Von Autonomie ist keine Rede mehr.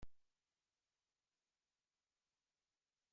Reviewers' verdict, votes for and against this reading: rejected, 0, 2